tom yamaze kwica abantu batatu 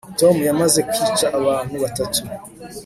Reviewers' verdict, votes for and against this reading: accepted, 2, 0